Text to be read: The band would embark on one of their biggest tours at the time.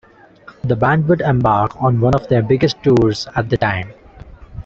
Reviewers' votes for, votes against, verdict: 2, 0, accepted